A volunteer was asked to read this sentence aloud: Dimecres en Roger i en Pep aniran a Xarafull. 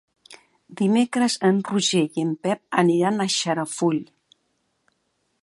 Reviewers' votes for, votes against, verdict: 3, 0, accepted